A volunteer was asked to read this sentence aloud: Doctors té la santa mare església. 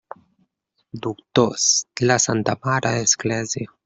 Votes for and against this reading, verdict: 1, 2, rejected